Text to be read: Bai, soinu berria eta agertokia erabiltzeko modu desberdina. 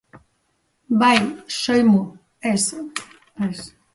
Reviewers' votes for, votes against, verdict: 0, 3, rejected